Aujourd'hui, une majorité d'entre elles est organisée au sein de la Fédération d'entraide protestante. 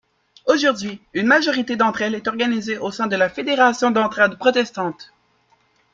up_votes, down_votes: 1, 2